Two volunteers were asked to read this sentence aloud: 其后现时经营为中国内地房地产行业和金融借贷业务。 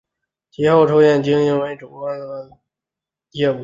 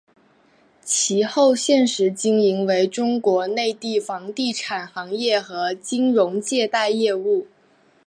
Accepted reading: second